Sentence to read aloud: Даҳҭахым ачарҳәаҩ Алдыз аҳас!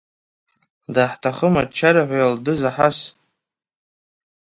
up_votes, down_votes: 2, 1